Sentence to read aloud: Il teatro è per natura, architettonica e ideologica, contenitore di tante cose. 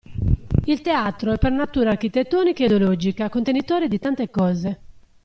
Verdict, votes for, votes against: rejected, 0, 2